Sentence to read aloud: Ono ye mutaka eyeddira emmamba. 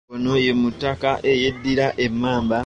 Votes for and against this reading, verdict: 2, 1, accepted